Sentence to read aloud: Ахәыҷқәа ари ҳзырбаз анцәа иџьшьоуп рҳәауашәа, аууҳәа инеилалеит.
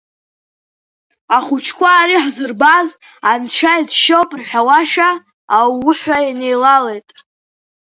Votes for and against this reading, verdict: 3, 0, accepted